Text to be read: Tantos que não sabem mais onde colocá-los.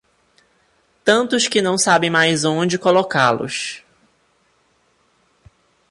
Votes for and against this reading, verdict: 2, 0, accepted